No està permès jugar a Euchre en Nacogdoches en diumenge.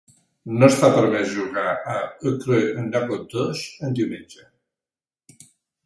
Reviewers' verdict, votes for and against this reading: rejected, 0, 2